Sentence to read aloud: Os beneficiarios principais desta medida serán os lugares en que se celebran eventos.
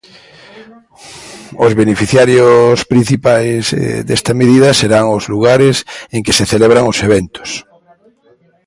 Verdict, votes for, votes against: rejected, 0, 2